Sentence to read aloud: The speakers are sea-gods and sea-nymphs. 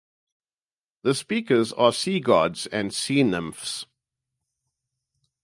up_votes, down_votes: 2, 0